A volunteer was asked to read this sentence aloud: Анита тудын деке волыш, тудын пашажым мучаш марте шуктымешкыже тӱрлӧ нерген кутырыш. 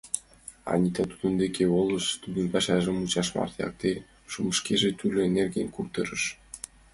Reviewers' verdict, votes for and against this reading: accepted, 2, 1